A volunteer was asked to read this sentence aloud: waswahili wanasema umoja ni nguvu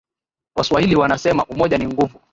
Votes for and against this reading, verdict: 2, 0, accepted